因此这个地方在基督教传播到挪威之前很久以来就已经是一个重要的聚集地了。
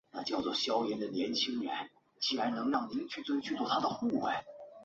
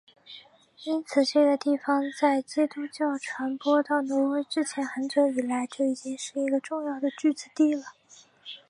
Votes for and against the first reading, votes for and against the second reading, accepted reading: 3, 0, 0, 2, first